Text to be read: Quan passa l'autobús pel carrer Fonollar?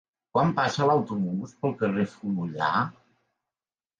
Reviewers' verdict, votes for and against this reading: accepted, 3, 1